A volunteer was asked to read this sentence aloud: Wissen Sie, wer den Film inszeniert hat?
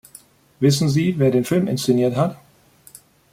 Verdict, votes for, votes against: accepted, 2, 0